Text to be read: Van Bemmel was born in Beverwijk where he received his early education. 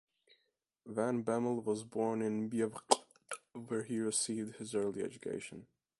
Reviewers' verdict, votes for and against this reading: rejected, 1, 2